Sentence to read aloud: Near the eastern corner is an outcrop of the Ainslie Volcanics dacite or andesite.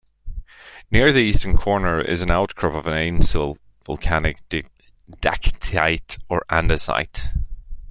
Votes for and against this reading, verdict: 1, 2, rejected